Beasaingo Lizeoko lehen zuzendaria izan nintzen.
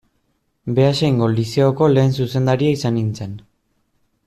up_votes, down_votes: 2, 0